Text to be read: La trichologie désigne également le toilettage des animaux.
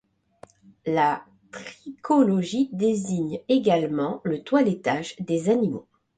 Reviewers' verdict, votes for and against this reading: accepted, 2, 0